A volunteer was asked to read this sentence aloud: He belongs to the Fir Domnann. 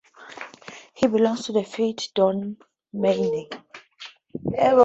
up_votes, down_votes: 0, 2